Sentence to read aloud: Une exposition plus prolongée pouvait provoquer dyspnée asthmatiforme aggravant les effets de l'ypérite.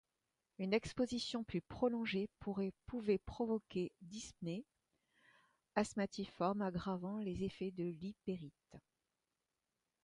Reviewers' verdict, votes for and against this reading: accepted, 2, 0